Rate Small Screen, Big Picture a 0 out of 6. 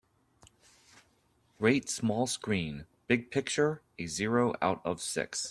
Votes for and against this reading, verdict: 0, 2, rejected